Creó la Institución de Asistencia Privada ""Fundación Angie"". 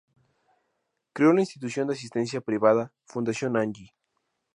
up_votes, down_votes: 2, 0